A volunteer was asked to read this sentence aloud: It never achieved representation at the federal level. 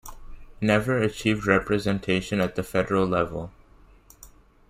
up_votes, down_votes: 1, 2